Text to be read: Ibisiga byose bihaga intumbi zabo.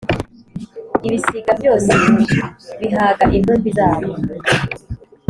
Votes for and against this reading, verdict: 3, 0, accepted